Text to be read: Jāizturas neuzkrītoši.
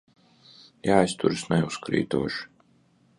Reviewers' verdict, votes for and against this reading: accepted, 2, 0